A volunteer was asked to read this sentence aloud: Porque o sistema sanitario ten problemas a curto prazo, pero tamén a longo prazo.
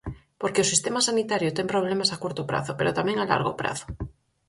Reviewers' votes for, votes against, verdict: 0, 4, rejected